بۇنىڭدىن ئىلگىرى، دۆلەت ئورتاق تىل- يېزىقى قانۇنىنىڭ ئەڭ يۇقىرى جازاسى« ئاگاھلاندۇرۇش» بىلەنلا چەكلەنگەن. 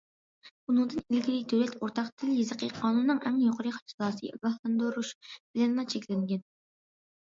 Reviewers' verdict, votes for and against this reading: accepted, 2, 0